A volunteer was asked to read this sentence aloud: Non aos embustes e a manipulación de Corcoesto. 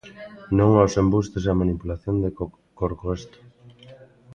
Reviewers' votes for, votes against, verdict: 0, 2, rejected